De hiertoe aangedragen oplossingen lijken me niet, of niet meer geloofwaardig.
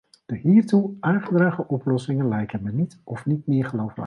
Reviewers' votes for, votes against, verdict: 1, 2, rejected